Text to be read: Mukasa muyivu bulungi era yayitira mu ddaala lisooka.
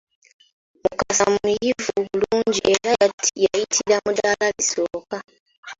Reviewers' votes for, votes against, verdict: 0, 2, rejected